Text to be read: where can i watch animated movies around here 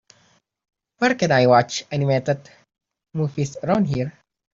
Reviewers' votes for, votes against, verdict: 3, 0, accepted